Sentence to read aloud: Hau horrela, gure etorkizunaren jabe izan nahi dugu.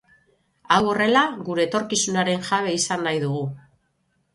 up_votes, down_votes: 6, 0